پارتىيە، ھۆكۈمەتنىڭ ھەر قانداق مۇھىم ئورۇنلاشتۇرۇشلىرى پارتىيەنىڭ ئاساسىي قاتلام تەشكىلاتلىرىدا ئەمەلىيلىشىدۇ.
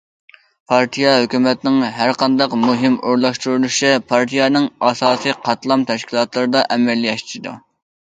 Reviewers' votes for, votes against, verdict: 0, 2, rejected